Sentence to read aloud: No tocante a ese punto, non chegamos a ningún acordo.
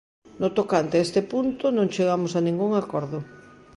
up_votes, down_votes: 0, 2